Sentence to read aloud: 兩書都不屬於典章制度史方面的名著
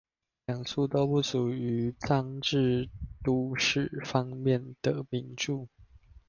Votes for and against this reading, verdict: 0, 2, rejected